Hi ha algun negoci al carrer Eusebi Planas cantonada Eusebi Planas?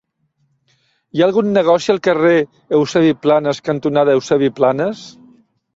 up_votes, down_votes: 3, 0